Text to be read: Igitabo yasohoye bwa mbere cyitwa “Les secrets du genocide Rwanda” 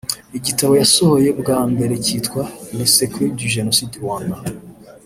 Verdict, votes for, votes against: accepted, 2, 0